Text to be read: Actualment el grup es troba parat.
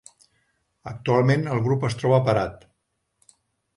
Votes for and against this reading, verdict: 2, 0, accepted